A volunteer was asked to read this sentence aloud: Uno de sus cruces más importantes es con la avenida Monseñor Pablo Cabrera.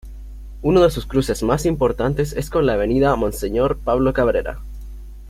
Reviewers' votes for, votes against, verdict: 2, 0, accepted